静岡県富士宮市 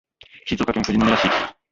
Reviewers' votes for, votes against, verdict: 2, 1, accepted